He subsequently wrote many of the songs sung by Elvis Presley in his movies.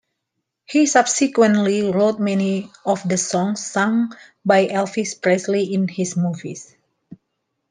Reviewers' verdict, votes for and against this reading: accepted, 2, 0